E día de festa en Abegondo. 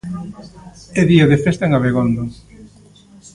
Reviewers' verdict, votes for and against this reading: rejected, 0, 2